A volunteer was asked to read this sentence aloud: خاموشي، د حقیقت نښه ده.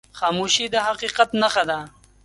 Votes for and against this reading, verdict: 2, 0, accepted